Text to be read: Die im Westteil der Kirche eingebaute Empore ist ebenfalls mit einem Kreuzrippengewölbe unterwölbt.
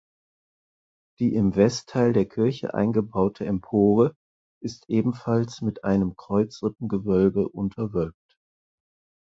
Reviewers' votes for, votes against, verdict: 4, 0, accepted